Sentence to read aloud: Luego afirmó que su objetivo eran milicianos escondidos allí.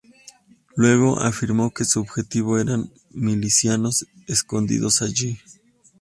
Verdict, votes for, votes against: accepted, 2, 0